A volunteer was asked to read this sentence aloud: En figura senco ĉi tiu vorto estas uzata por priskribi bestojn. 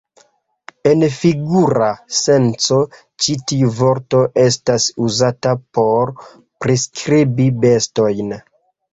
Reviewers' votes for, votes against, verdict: 2, 0, accepted